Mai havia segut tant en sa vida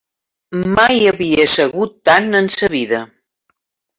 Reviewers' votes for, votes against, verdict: 2, 1, accepted